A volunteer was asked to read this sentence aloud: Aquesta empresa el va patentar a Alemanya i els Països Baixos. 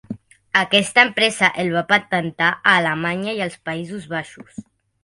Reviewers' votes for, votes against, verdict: 2, 0, accepted